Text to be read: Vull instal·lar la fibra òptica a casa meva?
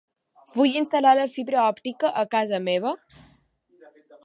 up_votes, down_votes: 2, 0